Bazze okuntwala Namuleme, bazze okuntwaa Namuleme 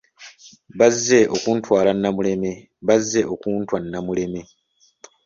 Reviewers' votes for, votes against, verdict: 2, 0, accepted